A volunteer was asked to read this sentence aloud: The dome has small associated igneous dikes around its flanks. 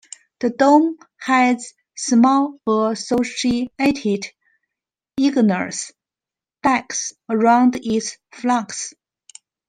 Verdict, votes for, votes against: rejected, 1, 2